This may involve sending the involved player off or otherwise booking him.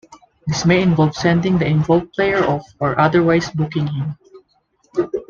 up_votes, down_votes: 2, 0